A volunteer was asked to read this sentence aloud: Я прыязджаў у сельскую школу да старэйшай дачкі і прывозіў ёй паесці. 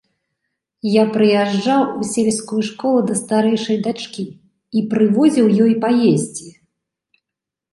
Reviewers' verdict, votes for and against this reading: accepted, 2, 0